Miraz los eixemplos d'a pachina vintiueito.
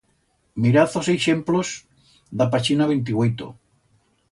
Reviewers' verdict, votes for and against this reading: rejected, 1, 2